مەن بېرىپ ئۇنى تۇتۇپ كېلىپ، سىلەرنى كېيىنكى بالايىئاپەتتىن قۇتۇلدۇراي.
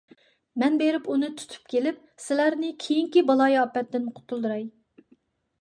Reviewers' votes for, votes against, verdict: 2, 0, accepted